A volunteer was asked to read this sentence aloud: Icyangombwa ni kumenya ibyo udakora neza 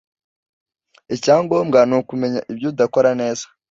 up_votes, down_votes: 2, 0